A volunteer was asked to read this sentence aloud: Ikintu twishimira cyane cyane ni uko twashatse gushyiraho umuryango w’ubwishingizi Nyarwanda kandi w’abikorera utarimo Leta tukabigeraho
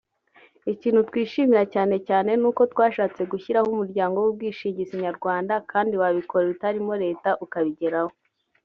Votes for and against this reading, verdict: 0, 2, rejected